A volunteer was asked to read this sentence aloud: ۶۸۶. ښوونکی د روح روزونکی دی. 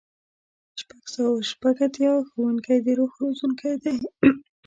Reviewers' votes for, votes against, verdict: 0, 2, rejected